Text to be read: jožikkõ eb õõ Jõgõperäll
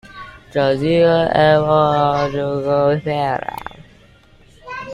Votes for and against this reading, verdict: 0, 2, rejected